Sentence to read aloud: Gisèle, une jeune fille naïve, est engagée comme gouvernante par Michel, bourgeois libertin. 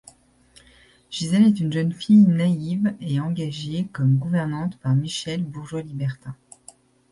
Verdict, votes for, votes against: rejected, 1, 2